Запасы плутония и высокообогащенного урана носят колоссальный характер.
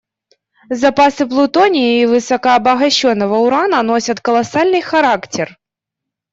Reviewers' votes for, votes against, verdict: 2, 0, accepted